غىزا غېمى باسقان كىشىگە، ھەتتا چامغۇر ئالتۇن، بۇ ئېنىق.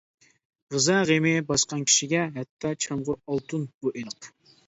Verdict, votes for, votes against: accepted, 2, 0